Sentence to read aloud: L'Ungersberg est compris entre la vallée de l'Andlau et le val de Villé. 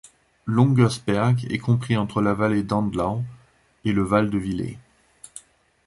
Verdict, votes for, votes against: rejected, 0, 2